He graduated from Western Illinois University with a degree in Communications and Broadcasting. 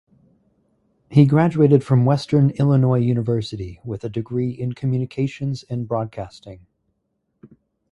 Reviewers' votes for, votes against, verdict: 4, 0, accepted